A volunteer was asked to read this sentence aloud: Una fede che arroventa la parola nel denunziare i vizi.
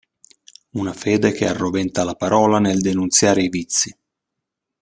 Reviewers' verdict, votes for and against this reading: accepted, 2, 0